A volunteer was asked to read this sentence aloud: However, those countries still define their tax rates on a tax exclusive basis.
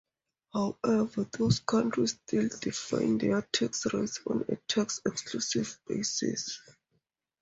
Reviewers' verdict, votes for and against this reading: rejected, 0, 2